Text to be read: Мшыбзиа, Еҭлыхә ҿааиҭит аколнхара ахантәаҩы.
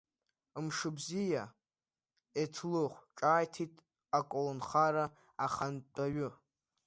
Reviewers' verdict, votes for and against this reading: accepted, 2, 0